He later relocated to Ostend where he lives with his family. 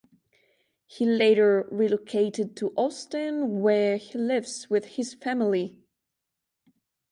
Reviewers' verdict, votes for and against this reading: accepted, 2, 0